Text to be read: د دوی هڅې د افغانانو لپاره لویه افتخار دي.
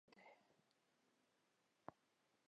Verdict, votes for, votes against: rejected, 1, 2